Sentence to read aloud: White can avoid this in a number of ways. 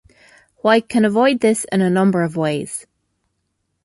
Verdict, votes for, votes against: accepted, 2, 0